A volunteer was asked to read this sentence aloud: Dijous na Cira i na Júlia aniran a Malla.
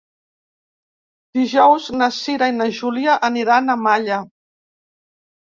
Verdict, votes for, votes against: accepted, 2, 0